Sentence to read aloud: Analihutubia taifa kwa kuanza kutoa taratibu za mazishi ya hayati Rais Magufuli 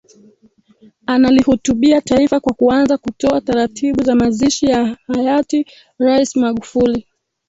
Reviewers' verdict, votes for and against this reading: rejected, 1, 3